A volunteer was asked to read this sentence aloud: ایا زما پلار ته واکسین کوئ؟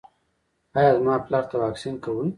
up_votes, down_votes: 1, 2